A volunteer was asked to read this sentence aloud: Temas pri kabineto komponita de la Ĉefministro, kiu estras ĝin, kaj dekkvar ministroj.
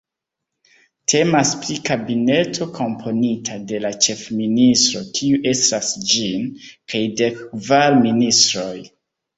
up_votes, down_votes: 2, 0